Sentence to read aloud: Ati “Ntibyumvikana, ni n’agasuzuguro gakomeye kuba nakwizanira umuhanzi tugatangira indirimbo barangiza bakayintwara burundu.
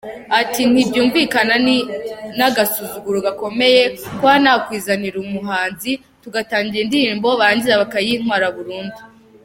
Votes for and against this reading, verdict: 2, 1, accepted